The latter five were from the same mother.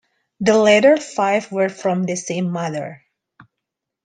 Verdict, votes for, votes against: accepted, 2, 0